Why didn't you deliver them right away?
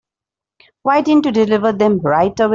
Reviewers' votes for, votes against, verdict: 0, 2, rejected